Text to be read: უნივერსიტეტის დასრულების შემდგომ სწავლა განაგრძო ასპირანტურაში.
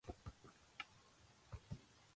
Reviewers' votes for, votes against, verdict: 0, 2, rejected